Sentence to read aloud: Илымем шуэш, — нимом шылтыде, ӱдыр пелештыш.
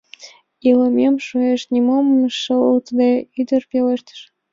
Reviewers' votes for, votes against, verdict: 2, 1, accepted